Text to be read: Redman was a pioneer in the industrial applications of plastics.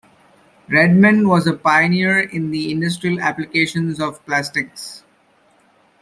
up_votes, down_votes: 2, 0